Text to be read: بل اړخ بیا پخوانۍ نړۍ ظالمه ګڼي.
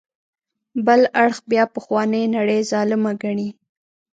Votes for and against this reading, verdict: 2, 0, accepted